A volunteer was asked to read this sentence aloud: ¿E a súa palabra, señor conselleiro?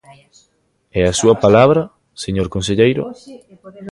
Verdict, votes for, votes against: accepted, 2, 0